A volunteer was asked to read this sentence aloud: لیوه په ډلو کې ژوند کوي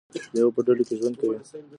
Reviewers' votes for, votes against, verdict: 2, 1, accepted